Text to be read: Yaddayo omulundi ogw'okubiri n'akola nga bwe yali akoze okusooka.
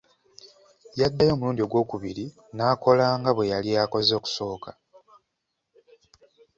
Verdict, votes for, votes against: accepted, 2, 0